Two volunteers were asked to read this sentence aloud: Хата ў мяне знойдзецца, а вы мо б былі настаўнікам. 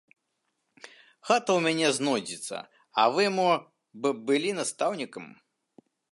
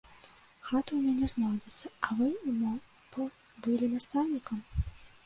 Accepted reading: first